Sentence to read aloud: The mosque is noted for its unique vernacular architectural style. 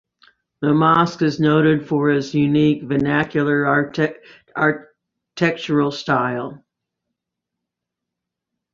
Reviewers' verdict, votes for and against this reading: rejected, 0, 2